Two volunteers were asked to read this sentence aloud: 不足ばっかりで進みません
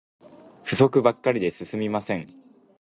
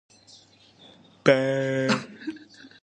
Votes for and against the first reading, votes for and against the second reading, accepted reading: 2, 1, 0, 2, first